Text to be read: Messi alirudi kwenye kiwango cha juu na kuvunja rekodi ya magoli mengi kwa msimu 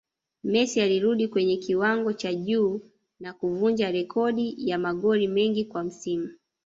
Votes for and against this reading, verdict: 2, 1, accepted